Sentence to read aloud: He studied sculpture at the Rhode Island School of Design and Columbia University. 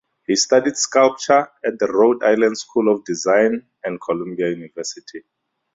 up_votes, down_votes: 4, 0